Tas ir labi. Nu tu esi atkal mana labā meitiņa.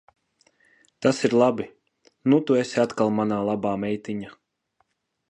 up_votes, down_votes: 1, 2